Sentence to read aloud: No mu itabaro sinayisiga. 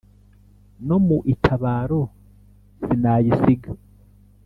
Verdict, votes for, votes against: accepted, 2, 0